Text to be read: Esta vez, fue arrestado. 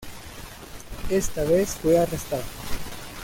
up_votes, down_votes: 2, 0